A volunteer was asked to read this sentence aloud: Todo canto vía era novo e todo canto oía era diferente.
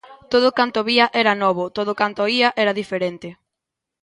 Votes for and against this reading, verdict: 0, 2, rejected